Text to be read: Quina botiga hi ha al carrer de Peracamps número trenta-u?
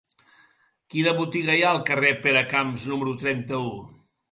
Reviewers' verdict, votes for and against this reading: rejected, 0, 2